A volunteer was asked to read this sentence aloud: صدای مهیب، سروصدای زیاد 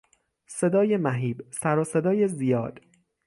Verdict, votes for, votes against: accepted, 6, 0